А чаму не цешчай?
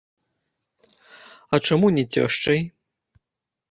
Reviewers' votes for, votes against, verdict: 0, 2, rejected